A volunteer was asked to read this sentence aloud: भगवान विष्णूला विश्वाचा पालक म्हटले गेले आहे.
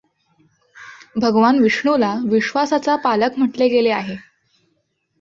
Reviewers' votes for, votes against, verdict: 0, 2, rejected